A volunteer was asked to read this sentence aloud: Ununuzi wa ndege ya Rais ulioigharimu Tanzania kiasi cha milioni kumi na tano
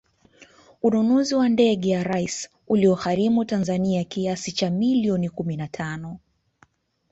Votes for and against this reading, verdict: 2, 0, accepted